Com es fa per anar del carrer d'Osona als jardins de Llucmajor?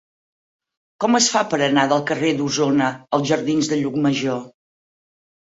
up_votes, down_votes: 4, 0